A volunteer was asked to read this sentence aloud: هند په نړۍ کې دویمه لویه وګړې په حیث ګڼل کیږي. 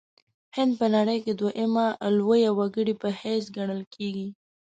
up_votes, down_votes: 2, 0